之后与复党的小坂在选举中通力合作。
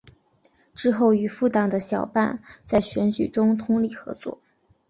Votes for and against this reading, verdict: 3, 0, accepted